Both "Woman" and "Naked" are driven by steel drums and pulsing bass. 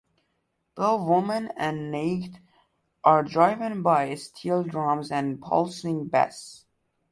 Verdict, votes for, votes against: accepted, 2, 1